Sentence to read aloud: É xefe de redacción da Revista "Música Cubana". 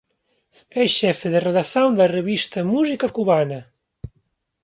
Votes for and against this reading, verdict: 0, 2, rejected